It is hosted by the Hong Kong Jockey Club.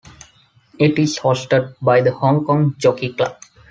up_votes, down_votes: 2, 1